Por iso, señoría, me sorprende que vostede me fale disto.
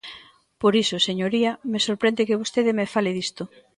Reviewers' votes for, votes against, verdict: 2, 0, accepted